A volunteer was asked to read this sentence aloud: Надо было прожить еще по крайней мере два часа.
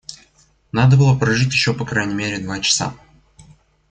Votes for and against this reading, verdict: 0, 2, rejected